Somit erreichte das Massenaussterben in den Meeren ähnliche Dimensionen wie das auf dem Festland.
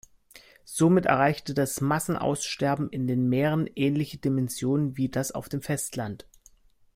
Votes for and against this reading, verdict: 2, 0, accepted